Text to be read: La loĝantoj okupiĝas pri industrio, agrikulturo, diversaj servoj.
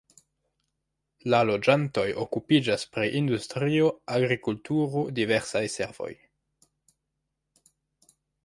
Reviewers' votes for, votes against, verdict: 0, 2, rejected